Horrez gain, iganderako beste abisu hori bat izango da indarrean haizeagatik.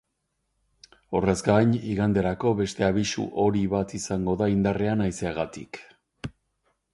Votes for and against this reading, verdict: 2, 0, accepted